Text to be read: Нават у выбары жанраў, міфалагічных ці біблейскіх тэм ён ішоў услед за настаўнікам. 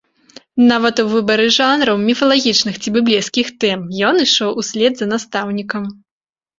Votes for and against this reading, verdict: 2, 0, accepted